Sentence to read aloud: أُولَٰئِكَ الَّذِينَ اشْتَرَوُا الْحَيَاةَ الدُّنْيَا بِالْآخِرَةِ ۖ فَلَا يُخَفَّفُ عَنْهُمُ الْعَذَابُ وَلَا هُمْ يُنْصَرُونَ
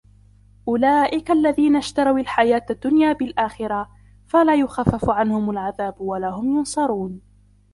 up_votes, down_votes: 1, 2